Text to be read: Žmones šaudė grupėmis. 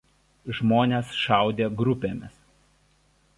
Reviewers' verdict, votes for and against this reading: accepted, 2, 1